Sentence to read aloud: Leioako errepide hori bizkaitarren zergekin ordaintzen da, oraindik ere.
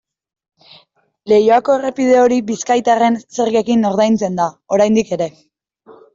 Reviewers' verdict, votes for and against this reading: accepted, 2, 0